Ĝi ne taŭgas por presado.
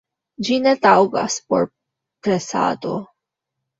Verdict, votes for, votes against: accepted, 2, 1